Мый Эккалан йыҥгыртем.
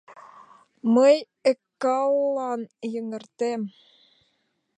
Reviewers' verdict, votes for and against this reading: rejected, 0, 2